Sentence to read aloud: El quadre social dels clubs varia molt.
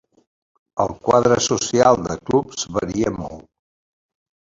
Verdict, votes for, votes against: rejected, 0, 3